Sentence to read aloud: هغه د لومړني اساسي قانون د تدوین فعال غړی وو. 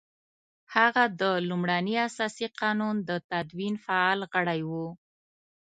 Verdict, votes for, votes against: accepted, 2, 0